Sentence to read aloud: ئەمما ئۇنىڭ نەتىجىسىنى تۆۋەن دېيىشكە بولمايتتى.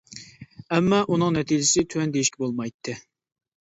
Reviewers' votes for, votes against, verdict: 1, 2, rejected